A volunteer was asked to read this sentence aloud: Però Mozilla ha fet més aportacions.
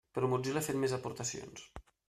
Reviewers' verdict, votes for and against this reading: accepted, 2, 0